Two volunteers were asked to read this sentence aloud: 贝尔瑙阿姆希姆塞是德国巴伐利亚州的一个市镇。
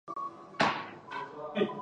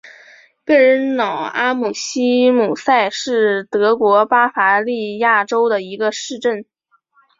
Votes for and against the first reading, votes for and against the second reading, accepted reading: 2, 5, 6, 0, second